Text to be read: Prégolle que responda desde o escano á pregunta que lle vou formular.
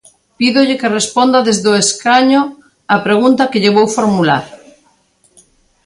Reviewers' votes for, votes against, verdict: 0, 2, rejected